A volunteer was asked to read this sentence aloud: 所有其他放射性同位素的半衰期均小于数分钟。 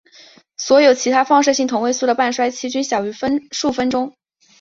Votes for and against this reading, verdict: 1, 2, rejected